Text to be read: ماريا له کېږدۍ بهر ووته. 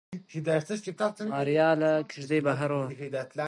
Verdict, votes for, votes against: accepted, 2, 1